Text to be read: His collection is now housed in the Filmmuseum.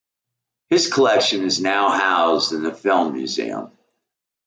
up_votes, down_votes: 2, 0